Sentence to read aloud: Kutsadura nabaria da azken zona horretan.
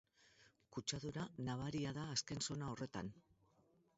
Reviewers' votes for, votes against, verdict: 2, 2, rejected